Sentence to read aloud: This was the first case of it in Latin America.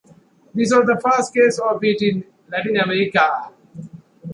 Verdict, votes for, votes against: rejected, 1, 2